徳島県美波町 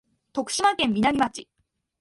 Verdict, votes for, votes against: accepted, 2, 0